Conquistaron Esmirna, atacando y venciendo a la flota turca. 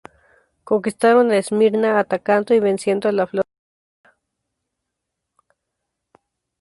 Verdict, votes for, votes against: rejected, 0, 2